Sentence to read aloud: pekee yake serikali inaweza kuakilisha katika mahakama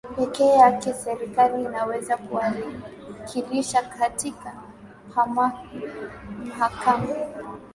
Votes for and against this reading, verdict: 4, 3, accepted